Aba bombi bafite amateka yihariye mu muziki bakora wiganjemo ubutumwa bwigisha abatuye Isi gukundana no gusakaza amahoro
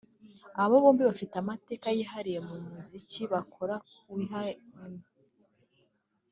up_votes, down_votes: 0, 2